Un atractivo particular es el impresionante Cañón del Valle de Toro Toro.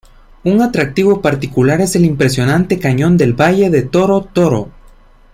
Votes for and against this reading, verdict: 2, 0, accepted